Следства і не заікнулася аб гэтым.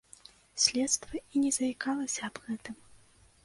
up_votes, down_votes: 0, 2